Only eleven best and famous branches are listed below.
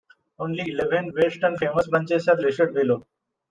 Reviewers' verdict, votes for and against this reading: rejected, 1, 2